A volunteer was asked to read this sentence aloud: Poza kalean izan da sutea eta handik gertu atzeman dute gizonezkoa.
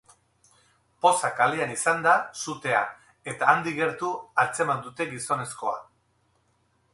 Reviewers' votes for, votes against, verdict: 4, 0, accepted